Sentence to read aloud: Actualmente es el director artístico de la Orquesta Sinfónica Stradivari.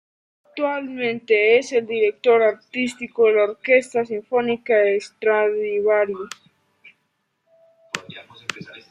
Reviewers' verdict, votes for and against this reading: rejected, 1, 2